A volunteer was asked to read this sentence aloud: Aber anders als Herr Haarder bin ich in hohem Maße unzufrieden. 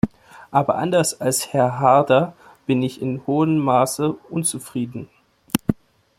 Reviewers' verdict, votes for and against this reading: rejected, 1, 2